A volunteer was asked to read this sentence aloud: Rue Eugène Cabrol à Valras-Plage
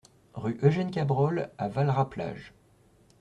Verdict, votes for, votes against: accepted, 2, 1